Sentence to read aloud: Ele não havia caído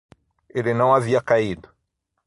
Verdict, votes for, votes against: rejected, 3, 3